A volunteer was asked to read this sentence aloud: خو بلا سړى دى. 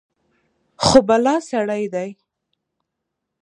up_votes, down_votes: 1, 2